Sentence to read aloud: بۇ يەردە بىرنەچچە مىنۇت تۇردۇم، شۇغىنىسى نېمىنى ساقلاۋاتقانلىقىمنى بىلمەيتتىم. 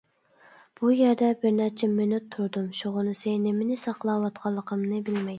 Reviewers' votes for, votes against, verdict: 1, 2, rejected